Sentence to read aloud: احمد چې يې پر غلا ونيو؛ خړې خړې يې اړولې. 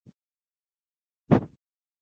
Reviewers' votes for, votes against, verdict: 1, 2, rejected